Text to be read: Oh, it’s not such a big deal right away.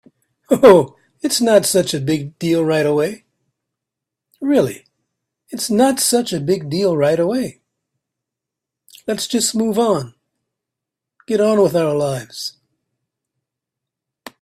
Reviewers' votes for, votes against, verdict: 1, 2, rejected